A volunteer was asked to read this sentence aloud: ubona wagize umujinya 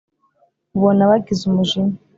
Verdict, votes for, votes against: accepted, 3, 0